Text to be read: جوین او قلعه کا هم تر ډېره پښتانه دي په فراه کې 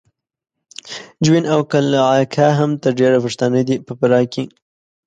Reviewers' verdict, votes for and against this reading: accepted, 2, 0